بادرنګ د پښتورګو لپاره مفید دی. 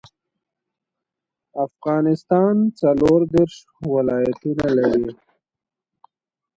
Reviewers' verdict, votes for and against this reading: rejected, 0, 2